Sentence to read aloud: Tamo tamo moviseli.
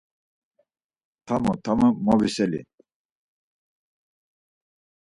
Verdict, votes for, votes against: accepted, 4, 0